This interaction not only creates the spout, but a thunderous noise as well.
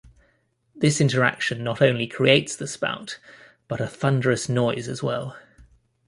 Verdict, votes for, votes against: accepted, 2, 0